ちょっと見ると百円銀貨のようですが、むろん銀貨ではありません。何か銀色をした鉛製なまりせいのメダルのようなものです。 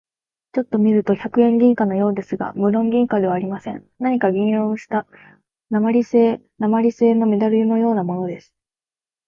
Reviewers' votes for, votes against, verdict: 3, 0, accepted